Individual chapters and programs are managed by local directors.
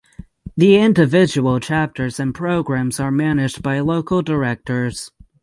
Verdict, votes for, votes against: accepted, 3, 0